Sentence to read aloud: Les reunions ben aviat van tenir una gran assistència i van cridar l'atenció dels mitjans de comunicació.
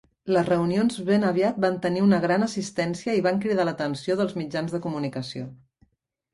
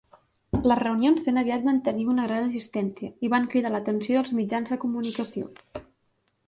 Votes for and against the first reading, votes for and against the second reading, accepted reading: 6, 0, 2, 3, first